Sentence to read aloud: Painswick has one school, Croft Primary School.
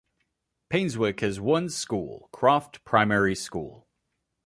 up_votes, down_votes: 2, 0